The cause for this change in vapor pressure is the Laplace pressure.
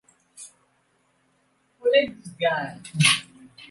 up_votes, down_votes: 1, 2